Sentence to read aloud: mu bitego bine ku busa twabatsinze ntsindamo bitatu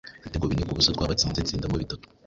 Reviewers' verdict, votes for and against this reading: rejected, 0, 2